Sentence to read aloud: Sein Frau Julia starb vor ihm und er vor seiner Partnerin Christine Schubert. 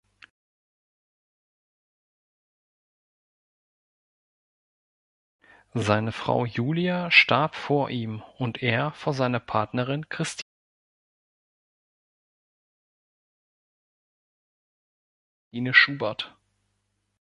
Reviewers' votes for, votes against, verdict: 1, 2, rejected